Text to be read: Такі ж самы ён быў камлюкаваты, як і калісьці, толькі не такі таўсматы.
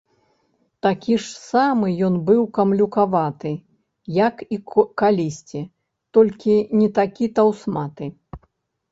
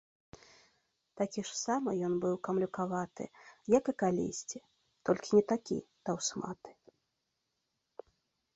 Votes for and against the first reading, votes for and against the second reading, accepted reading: 0, 2, 2, 0, second